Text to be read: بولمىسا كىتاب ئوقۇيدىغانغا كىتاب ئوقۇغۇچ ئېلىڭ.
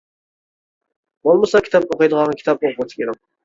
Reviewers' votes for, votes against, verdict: 0, 2, rejected